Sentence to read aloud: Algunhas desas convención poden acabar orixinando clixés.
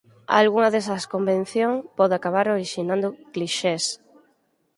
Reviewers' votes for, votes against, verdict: 0, 4, rejected